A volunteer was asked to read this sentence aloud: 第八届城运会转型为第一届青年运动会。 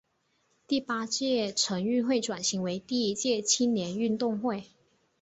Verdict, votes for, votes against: accepted, 2, 0